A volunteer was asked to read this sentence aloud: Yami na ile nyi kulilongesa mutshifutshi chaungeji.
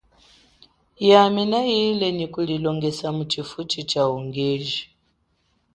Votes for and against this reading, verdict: 8, 0, accepted